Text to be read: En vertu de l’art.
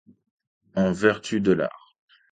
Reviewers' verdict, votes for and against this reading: accepted, 2, 0